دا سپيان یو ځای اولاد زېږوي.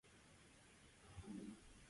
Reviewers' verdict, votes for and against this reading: rejected, 0, 2